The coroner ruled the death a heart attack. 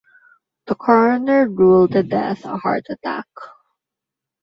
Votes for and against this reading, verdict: 0, 2, rejected